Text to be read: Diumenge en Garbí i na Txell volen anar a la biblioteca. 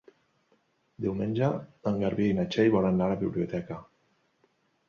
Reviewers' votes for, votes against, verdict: 2, 1, accepted